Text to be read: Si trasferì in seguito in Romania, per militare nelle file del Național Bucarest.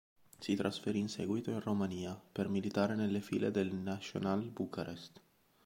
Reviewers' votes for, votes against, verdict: 3, 0, accepted